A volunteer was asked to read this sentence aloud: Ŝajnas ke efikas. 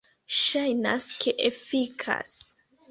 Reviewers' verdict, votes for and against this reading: accepted, 2, 1